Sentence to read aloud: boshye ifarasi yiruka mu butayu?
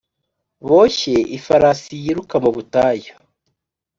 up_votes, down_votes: 2, 0